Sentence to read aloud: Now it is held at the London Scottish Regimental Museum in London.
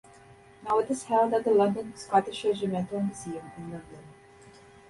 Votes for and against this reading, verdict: 0, 2, rejected